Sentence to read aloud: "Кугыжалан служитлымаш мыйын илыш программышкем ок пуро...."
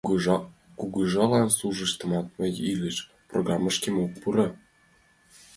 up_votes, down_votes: 0, 2